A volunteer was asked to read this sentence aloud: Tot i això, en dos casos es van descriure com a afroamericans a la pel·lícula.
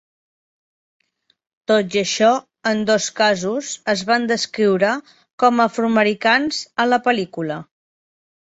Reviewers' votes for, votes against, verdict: 3, 0, accepted